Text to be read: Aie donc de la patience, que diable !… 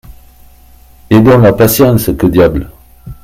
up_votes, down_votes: 1, 2